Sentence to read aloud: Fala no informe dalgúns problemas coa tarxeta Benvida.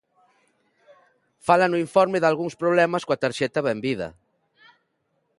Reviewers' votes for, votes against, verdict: 2, 0, accepted